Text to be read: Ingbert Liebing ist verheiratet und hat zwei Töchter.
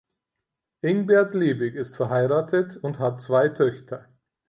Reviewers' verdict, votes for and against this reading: accepted, 4, 0